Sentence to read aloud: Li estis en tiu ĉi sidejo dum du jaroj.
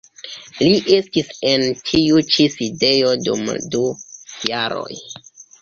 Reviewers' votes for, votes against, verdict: 1, 2, rejected